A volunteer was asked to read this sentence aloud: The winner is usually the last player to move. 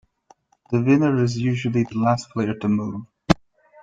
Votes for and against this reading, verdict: 2, 0, accepted